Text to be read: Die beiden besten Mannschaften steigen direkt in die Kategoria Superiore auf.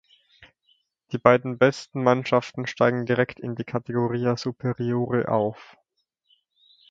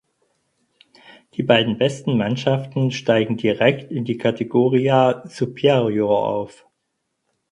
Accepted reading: first